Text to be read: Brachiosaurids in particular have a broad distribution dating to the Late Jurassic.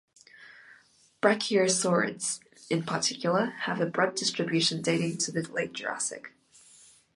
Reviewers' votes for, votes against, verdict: 2, 0, accepted